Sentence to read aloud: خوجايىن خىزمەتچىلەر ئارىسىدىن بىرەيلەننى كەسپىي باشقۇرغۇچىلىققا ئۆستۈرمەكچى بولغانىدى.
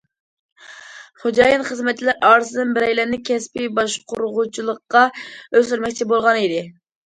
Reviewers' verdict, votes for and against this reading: accepted, 2, 0